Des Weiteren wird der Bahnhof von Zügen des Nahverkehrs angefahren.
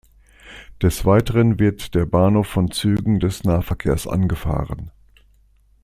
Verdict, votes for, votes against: accepted, 2, 0